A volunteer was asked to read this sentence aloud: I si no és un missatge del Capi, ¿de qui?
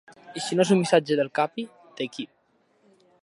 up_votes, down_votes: 3, 0